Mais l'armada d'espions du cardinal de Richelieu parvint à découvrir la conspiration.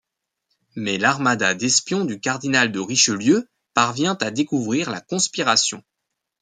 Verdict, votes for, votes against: rejected, 1, 2